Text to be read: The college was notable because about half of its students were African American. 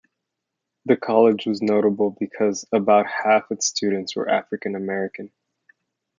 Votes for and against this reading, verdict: 1, 2, rejected